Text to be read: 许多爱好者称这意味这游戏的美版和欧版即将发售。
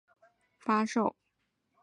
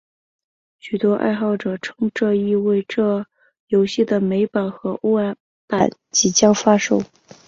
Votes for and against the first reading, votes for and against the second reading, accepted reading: 0, 3, 2, 0, second